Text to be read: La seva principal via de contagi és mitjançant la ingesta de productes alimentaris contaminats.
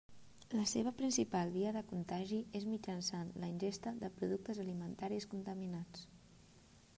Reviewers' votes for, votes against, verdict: 3, 0, accepted